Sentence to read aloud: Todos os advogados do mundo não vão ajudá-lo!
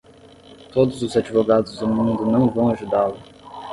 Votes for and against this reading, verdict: 5, 5, rejected